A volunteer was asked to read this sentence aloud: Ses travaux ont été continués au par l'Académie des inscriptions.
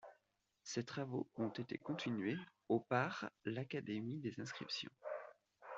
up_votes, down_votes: 2, 1